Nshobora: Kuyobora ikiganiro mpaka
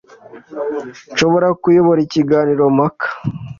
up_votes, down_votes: 2, 0